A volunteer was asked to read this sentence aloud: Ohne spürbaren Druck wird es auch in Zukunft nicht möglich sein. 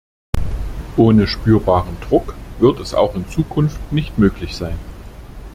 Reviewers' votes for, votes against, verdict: 2, 0, accepted